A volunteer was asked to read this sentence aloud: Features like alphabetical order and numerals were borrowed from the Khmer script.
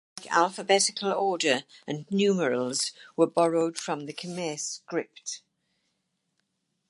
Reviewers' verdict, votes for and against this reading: rejected, 2, 4